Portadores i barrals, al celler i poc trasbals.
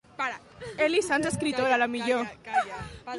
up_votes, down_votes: 0, 2